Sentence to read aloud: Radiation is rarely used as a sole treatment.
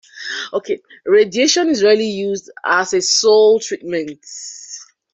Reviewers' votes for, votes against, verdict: 0, 2, rejected